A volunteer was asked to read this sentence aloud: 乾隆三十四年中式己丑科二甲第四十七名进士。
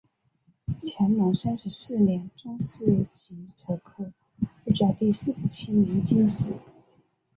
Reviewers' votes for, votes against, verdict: 1, 2, rejected